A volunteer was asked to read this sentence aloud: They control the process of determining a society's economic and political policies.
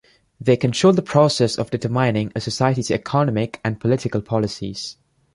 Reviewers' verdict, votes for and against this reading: accepted, 2, 0